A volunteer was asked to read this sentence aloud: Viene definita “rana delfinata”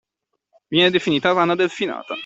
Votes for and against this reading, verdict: 2, 0, accepted